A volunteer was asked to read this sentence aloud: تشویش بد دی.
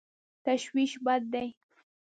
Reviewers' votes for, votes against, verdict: 1, 2, rejected